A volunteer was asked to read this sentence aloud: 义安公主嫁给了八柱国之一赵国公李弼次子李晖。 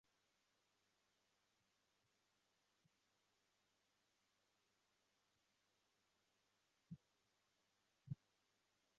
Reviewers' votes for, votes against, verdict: 0, 2, rejected